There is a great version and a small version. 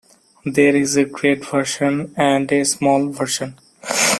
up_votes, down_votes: 2, 0